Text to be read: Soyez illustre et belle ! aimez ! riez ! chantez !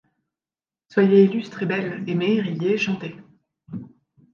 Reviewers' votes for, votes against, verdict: 2, 0, accepted